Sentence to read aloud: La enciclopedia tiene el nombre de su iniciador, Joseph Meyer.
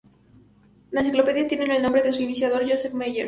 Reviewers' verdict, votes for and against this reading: accepted, 4, 0